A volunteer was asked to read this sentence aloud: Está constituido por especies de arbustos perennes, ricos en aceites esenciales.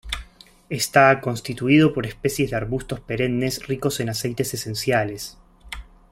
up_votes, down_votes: 2, 0